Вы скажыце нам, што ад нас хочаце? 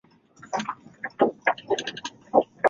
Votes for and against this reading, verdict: 0, 2, rejected